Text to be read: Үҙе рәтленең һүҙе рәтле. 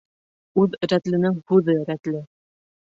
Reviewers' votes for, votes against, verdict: 0, 2, rejected